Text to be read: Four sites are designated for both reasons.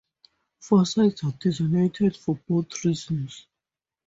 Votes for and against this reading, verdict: 2, 0, accepted